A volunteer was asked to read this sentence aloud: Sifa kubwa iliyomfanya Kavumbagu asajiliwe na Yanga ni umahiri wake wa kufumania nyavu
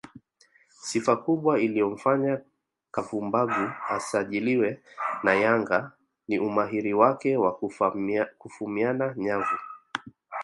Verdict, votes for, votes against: rejected, 1, 2